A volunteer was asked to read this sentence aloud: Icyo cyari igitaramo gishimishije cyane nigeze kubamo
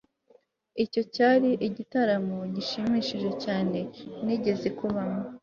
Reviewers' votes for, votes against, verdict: 3, 0, accepted